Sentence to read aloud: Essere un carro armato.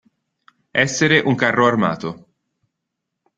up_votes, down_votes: 2, 0